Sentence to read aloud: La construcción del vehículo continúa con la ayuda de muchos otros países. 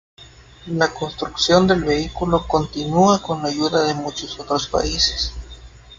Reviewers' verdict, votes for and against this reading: accepted, 2, 0